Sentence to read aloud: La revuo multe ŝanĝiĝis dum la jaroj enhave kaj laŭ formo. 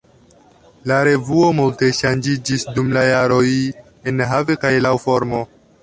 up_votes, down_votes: 2, 1